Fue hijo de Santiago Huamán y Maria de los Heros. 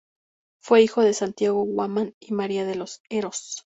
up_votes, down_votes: 2, 0